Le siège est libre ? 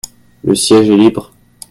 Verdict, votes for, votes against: accepted, 2, 0